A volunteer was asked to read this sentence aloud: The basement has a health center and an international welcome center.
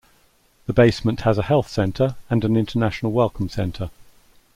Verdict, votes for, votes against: accepted, 2, 0